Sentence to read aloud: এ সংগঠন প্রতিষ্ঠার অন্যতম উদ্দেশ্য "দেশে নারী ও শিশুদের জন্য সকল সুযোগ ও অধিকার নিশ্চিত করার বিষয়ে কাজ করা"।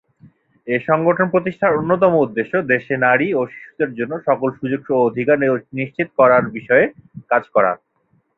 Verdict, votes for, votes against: accepted, 4, 2